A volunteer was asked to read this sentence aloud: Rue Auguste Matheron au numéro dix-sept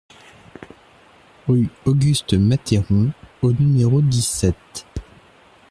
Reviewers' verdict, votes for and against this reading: rejected, 1, 2